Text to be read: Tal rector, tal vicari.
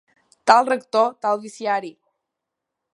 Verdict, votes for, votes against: rejected, 0, 2